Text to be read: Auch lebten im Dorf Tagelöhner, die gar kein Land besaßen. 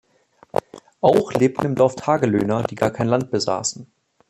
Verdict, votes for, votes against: rejected, 2, 3